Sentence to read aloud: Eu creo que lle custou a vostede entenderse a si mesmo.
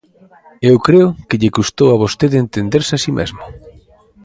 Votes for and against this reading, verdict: 2, 0, accepted